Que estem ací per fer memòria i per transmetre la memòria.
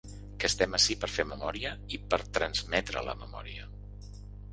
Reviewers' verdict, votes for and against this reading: accepted, 3, 0